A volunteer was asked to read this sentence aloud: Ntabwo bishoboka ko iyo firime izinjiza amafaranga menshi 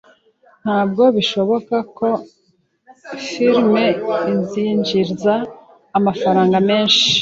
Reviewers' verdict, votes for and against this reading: accepted, 2, 0